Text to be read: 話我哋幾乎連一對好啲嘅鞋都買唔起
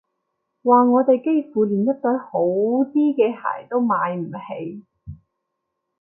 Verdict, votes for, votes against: accepted, 2, 0